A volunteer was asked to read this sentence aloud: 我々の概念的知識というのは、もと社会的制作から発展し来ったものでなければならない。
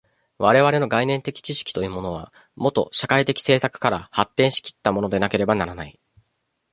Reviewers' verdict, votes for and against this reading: rejected, 1, 2